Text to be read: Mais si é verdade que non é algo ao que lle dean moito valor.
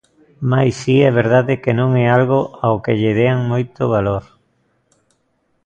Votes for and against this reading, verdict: 2, 0, accepted